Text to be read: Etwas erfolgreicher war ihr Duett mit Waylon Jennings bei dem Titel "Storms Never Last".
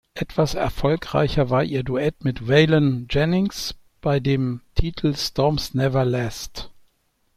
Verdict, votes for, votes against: accepted, 2, 0